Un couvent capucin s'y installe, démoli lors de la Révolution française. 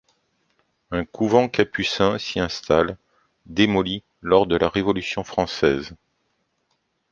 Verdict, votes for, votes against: accepted, 2, 0